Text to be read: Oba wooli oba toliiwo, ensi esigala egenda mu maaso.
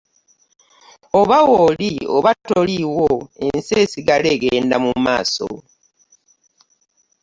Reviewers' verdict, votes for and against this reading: accepted, 3, 0